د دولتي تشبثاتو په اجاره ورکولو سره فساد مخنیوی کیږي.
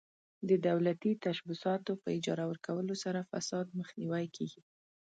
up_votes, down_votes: 2, 0